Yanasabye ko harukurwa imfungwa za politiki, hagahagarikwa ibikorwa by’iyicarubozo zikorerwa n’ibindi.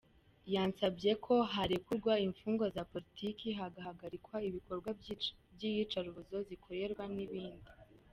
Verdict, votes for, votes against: rejected, 1, 2